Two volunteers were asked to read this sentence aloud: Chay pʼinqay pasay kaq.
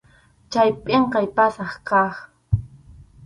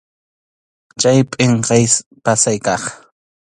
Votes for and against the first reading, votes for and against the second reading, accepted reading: 2, 2, 2, 0, second